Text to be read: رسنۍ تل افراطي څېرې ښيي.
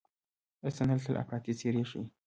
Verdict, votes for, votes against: accepted, 2, 0